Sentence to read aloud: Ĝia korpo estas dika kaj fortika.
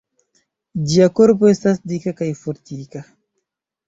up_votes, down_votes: 3, 0